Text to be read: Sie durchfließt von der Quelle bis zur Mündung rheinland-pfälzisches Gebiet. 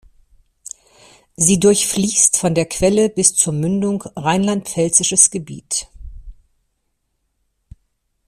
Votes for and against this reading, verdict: 2, 0, accepted